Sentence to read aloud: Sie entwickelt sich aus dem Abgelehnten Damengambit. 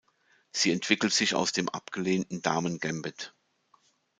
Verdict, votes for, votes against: accepted, 2, 1